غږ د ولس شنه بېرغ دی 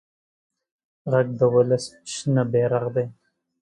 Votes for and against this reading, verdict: 2, 0, accepted